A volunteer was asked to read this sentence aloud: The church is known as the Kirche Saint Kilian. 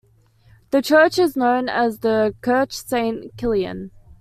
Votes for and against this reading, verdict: 2, 0, accepted